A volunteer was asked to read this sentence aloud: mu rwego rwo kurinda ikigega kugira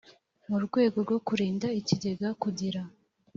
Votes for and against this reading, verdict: 2, 0, accepted